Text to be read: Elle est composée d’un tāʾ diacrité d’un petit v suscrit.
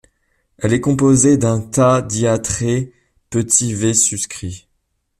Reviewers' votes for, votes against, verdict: 0, 3, rejected